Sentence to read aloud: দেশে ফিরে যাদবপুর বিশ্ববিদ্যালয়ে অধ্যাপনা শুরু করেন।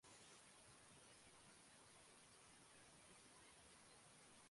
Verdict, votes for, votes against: rejected, 0, 3